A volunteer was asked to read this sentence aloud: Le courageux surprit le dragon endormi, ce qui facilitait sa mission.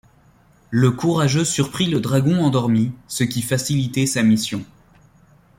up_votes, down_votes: 2, 0